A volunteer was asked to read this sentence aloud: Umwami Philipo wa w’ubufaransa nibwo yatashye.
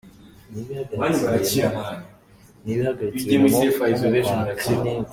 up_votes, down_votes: 0, 3